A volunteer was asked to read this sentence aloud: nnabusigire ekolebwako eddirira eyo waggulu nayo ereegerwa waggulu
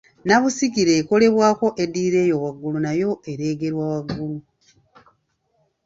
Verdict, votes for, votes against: accepted, 2, 0